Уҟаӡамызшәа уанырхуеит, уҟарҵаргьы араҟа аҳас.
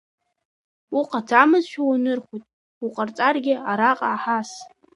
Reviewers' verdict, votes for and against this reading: rejected, 1, 3